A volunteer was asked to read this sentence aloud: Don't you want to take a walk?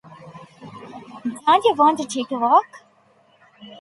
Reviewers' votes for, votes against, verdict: 0, 2, rejected